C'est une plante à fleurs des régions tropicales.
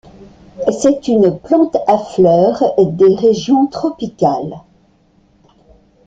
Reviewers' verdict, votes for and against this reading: accepted, 2, 0